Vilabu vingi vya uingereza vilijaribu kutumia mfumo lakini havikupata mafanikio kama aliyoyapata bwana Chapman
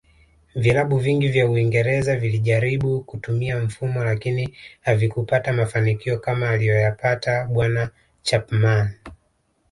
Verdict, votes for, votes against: accepted, 2, 0